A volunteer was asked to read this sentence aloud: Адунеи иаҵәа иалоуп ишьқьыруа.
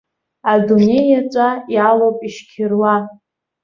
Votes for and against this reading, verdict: 2, 0, accepted